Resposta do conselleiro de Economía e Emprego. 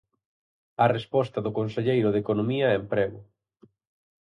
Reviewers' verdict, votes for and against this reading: rejected, 0, 4